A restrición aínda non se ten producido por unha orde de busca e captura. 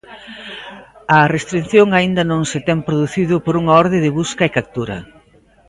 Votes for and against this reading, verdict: 2, 0, accepted